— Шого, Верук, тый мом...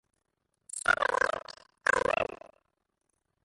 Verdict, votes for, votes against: rejected, 0, 2